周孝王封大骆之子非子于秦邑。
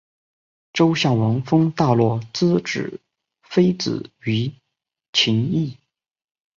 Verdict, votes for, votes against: accepted, 3, 1